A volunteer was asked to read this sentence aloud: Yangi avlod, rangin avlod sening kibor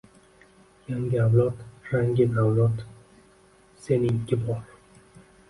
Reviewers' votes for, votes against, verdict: 1, 2, rejected